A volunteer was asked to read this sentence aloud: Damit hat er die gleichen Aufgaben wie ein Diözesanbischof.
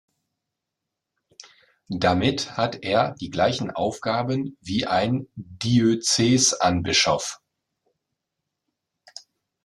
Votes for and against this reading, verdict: 0, 2, rejected